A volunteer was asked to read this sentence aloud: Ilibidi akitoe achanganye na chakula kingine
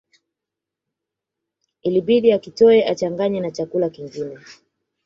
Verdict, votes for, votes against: accepted, 2, 1